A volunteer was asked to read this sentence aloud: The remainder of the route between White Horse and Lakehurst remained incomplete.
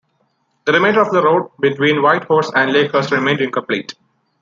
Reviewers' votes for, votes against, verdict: 2, 0, accepted